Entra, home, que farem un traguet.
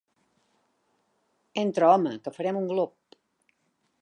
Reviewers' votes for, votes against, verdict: 0, 2, rejected